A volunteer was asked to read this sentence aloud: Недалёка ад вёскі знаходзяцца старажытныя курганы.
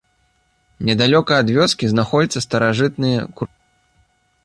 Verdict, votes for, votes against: rejected, 0, 2